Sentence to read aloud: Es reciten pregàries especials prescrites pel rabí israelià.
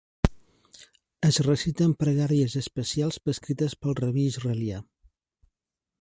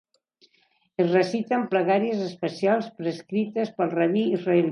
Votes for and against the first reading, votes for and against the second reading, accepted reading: 5, 0, 1, 2, first